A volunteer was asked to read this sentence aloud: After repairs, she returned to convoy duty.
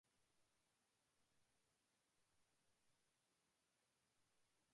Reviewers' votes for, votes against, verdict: 0, 2, rejected